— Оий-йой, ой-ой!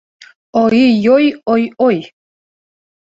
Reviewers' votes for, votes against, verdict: 1, 2, rejected